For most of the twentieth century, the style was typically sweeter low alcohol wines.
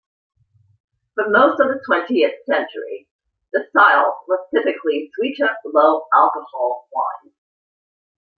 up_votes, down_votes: 0, 2